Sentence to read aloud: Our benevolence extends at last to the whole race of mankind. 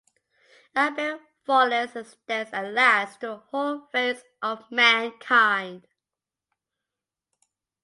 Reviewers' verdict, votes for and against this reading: rejected, 0, 2